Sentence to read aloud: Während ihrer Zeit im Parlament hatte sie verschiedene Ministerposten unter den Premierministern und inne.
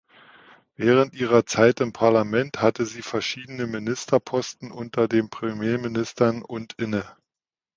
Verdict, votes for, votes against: accepted, 2, 0